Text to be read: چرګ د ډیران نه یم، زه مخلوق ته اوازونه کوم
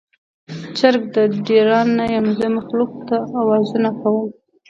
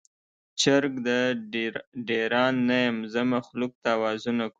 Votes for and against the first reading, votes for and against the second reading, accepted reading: 2, 0, 1, 2, first